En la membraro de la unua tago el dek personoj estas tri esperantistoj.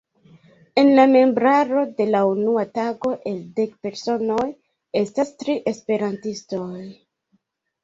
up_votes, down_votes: 2, 1